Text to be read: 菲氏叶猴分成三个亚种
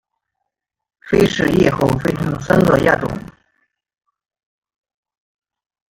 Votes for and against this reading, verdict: 0, 2, rejected